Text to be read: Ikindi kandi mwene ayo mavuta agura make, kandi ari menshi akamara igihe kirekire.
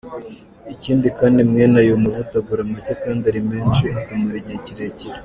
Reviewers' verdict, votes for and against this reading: accepted, 2, 0